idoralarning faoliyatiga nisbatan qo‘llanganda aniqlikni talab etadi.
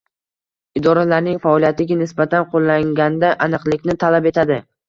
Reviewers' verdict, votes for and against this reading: rejected, 1, 2